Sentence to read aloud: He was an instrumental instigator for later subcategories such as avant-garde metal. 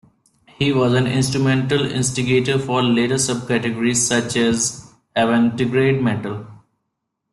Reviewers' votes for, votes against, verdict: 0, 2, rejected